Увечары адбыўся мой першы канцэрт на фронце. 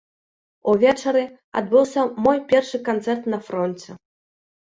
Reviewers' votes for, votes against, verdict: 3, 0, accepted